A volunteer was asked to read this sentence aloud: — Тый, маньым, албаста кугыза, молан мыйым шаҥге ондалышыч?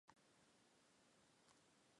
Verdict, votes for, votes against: rejected, 1, 2